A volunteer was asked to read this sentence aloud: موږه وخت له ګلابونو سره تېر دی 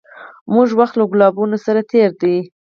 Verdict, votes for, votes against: rejected, 0, 4